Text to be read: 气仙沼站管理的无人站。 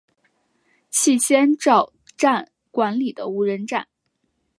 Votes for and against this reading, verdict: 2, 0, accepted